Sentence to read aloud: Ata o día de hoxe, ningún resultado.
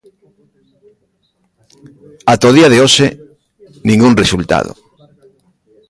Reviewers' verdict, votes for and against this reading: rejected, 0, 2